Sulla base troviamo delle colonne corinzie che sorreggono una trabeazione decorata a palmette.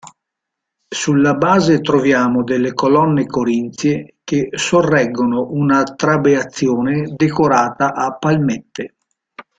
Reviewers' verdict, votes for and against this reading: accepted, 2, 0